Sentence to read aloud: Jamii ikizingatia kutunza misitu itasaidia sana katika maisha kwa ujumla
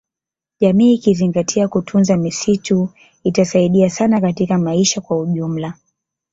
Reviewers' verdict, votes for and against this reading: rejected, 0, 2